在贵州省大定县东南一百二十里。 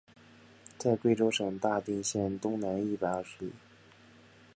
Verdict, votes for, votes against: accepted, 2, 0